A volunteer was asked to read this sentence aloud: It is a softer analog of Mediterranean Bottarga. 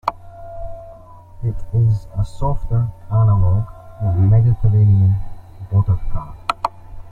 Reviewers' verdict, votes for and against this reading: rejected, 0, 2